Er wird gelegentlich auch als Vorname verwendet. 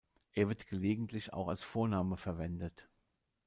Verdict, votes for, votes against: rejected, 1, 2